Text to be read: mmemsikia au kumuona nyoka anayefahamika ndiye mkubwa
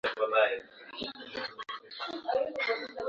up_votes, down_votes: 0, 2